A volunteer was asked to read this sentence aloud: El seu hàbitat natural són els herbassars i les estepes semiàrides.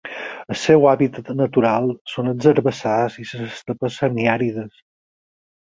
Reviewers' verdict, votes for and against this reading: rejected, 2, 8